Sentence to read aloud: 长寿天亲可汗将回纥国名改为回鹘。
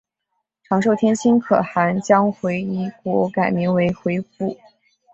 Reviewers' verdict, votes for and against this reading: accepted, 2, 1